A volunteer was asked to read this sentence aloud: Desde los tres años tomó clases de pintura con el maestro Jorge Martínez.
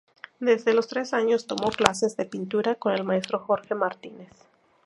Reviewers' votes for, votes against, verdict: 2, 0, accepted